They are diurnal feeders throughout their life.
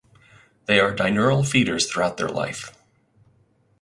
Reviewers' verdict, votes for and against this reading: rejected, 2, 4